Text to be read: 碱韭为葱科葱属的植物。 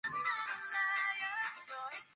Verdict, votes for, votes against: rejected, 0, 2